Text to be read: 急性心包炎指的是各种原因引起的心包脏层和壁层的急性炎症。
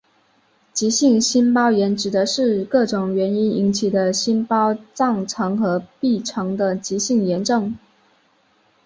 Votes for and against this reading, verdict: 2, 0, accepted